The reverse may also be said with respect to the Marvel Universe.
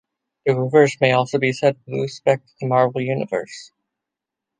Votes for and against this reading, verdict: 0, 2, rejected